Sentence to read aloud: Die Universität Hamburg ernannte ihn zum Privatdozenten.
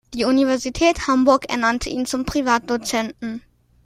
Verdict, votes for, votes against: accepted, 2, 0